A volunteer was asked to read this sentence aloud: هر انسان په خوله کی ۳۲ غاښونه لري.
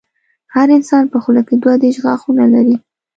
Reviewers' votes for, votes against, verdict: 0, 2, rejected